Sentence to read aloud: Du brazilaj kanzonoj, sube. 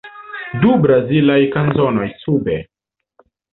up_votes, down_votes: 2, 0